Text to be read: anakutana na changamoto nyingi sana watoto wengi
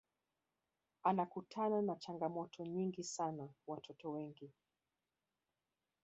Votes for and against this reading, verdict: 1, 2, rejected